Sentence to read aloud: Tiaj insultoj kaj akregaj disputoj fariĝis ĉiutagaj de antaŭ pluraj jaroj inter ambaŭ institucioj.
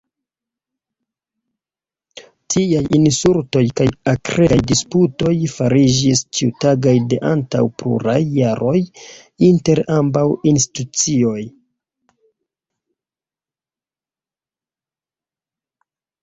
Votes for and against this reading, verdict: 1, 2, rejected